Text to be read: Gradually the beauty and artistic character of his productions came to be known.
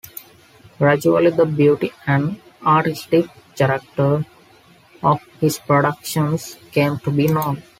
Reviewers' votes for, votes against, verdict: 2, 0, accepted